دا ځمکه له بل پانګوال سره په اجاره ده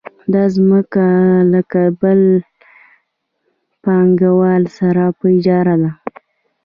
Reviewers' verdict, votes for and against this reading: accepted, 2, 0